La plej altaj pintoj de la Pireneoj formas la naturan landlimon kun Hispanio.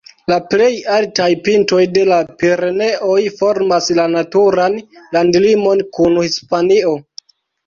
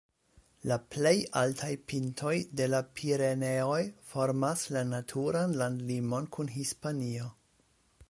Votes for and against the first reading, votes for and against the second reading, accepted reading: 1, 2, 2, 0, second